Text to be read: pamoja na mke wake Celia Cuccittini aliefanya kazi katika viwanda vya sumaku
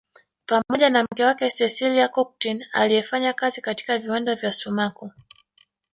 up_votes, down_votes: 0, 2